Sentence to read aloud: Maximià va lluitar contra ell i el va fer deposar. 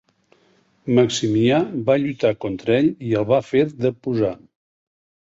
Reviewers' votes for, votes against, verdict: 2, 0, accepted